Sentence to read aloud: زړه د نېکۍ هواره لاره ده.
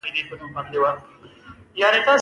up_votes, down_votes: 1, 2